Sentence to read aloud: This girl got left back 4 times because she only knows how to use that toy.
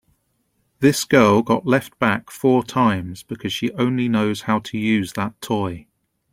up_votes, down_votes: 0, 2